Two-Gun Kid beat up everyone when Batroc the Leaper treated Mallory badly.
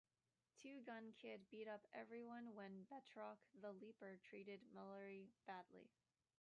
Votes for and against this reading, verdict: 1, 2, rejected